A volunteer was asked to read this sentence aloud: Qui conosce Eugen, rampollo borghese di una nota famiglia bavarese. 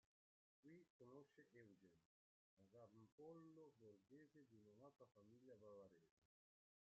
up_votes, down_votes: 0, 2